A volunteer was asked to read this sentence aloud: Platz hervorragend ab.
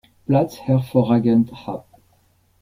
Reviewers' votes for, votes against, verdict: 1, 2, rejected